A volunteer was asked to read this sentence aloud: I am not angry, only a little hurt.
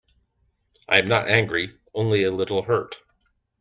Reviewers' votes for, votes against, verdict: 2, 0, accepted